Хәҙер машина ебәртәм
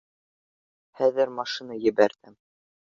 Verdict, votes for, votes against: rejected, 1, 2